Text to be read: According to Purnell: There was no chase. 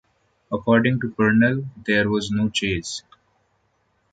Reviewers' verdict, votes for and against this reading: accepted, 2, 0